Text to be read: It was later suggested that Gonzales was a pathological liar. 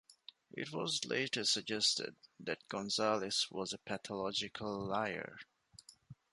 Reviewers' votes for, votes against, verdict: 2, 0, accepted